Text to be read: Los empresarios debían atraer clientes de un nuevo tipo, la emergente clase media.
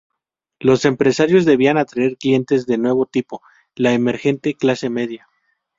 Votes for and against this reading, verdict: 0, 2, rejected